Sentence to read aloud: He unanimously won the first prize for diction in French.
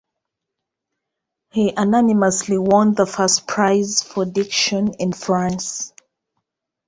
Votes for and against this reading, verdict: 1, 2, rejected